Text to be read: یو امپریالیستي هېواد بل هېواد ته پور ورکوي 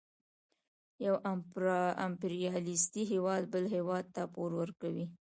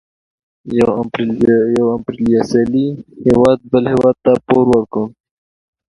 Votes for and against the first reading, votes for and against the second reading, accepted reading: 2, 0, 0, 2, first